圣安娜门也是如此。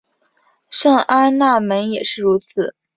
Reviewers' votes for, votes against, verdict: 2, 0, accepted